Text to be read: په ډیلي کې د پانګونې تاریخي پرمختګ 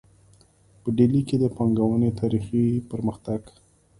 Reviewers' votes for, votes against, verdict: 1, 2, rejected